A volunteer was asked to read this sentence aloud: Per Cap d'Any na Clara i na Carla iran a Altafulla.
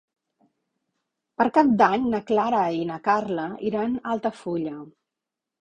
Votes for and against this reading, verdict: 4, 0, accepted